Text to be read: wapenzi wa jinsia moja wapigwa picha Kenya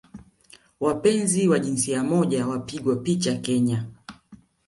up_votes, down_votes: 2, 0